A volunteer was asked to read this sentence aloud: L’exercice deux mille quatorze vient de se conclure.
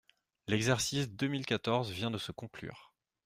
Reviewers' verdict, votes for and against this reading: accepted, 2, 0